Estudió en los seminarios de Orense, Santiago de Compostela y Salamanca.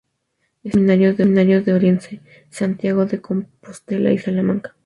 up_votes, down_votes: 0, 2